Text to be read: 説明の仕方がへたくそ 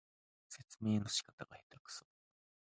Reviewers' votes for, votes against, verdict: 1, 2, rejected